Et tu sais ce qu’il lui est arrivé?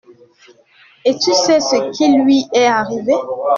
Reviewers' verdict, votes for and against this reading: accepted, 2, 1